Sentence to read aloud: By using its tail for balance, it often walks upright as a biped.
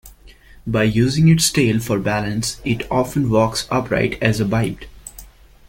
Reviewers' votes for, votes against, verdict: 0, 2, rejected